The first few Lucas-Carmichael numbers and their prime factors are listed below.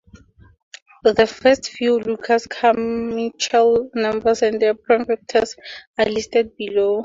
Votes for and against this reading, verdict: 0, 2, rejected